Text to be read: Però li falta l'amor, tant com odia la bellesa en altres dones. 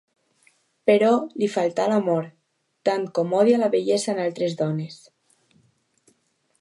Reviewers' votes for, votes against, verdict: 2, 1, accepted